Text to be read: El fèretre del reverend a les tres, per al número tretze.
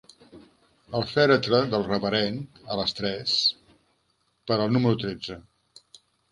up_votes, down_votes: 3, 0